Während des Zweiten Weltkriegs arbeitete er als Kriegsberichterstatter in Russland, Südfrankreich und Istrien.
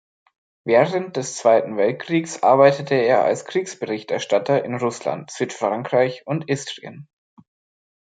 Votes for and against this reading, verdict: 2, 0, accepted